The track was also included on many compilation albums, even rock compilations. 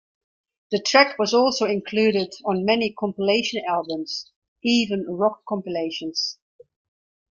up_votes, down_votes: 2, 0